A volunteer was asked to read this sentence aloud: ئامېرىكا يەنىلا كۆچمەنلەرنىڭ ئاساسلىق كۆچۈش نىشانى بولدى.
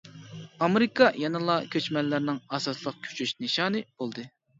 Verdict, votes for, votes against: accepted, 2, 0